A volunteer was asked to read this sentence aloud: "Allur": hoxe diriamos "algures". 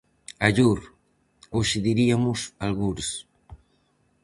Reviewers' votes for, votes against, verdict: 2, 2, rejected